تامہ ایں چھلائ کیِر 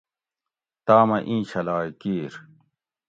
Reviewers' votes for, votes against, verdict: 2, 0, accepted